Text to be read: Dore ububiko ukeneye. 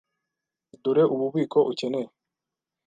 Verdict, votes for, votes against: accepted, 2, 0